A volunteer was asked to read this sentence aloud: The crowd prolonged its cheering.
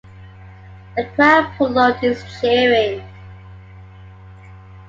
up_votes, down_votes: 2, 1